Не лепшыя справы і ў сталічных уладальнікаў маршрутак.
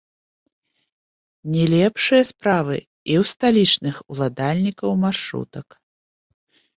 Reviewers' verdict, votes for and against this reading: accepted, 2, 0